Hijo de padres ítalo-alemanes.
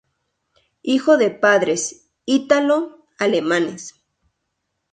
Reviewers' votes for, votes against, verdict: 0, 2, rejected